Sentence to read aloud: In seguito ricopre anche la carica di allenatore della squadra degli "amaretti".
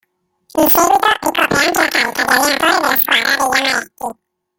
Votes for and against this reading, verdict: 0, 2, rejected